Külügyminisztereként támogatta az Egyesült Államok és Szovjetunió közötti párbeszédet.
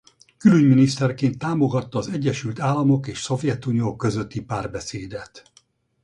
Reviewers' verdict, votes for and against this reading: rejected, 0, 2